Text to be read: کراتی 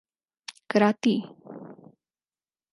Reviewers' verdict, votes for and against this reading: accepted, 4, 0